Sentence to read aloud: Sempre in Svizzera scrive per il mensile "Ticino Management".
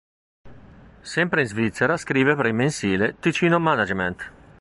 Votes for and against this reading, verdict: 2, 0, accepted